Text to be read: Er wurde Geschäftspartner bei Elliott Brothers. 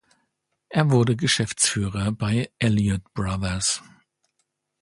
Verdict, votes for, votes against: rejected, 0, 2